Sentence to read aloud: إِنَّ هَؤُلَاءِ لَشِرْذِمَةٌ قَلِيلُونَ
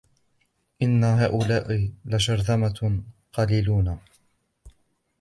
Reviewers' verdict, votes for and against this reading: rejected, 1, 2